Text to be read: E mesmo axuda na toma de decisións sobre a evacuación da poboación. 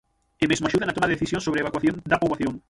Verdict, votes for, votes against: rejected, 3, 6